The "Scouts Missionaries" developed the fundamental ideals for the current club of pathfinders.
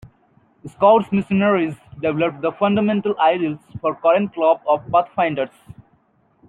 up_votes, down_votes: 1, 2